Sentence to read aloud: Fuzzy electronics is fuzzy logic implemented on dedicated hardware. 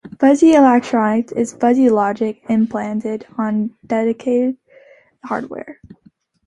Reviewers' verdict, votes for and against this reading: accepted, 2, 1